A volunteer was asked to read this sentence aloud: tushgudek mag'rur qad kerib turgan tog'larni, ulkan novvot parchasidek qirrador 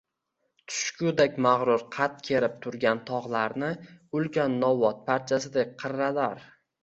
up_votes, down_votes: 1, 2